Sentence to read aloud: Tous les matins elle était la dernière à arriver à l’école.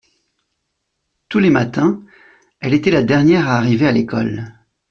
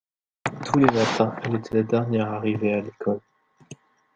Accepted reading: first